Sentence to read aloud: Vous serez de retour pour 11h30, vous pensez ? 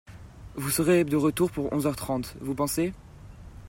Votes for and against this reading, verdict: 0, 2, rejected